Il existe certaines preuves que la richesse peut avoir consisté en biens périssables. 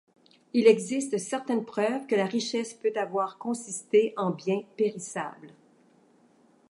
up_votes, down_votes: 2, 0